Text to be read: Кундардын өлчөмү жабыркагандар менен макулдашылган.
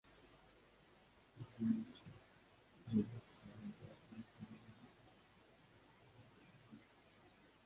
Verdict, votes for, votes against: rejected, 0, 2